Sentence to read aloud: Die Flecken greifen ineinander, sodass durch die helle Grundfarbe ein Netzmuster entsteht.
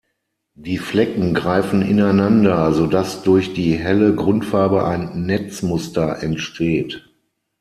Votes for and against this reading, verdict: 6, 3, accepted